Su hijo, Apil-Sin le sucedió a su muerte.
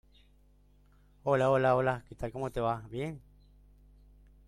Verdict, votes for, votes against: rejected, 0, 2